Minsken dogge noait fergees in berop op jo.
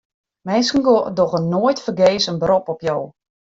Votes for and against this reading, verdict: 0, 2, rejected